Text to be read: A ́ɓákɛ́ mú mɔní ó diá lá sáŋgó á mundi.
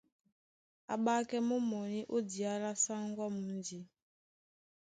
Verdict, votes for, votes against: accepted, 2, 0